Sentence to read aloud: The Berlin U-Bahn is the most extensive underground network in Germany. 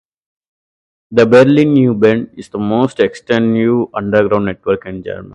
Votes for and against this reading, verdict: 2, 0, accepted